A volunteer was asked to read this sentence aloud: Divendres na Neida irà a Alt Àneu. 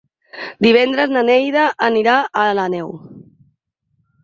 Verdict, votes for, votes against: rejected, 2, 4